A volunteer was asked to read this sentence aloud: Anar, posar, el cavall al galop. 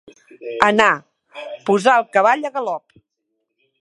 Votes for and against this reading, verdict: 1, 2, rejected